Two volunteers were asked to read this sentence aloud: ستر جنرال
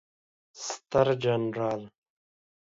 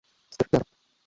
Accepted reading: first